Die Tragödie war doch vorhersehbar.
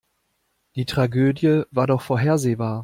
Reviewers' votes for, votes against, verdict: 2, 0, accepted